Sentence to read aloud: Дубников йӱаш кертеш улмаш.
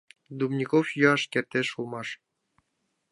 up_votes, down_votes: 2, 0